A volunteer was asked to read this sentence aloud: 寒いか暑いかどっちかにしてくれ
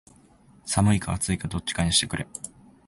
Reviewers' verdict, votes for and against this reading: accepted, 7, 0